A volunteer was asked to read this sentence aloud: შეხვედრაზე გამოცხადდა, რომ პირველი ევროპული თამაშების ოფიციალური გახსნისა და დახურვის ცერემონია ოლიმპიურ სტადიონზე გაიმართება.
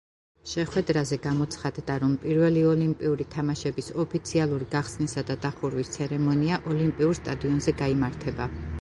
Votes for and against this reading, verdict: 2, 1, accepted